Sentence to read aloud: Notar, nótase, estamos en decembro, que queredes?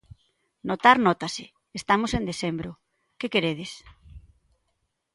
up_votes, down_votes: 2, 0